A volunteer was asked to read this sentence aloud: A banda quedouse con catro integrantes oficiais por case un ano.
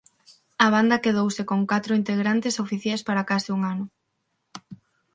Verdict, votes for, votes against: rejected, 3, 6